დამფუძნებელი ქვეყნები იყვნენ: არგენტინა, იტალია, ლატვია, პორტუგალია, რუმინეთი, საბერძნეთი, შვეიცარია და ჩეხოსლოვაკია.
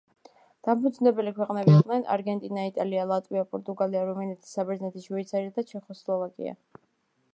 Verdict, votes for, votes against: accepted, 2, 1